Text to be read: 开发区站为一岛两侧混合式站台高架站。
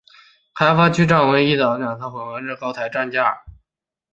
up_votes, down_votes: 0, 2